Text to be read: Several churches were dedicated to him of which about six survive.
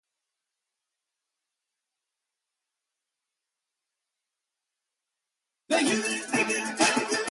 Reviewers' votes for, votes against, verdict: 0, 2, rejected